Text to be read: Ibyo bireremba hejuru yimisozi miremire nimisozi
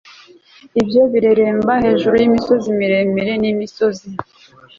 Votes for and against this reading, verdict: 2, 0, accepted